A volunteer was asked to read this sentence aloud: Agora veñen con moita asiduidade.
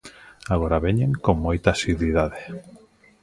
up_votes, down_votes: 2, 0